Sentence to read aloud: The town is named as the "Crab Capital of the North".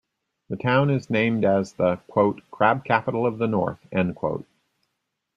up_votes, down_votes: 0, 2